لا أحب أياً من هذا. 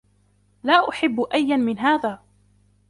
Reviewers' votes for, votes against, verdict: 2, 0, accepted